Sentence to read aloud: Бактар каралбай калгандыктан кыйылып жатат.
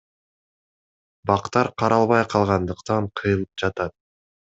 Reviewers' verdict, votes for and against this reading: accepted, 2, 0